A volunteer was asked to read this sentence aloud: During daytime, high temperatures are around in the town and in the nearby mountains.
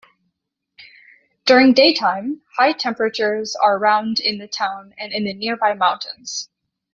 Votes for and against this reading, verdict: 1, 2, rejected